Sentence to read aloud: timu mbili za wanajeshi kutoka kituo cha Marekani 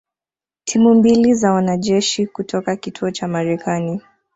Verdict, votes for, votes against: accepted, 2, 1